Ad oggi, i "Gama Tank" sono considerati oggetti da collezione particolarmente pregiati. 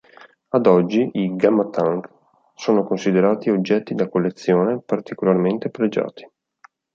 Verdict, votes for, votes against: accepted, 2, 0